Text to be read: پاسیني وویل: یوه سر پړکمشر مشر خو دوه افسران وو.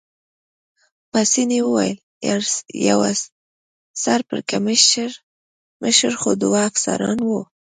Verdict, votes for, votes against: rejected, 1, 2